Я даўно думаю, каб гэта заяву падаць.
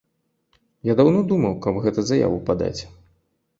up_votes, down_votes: 1, 2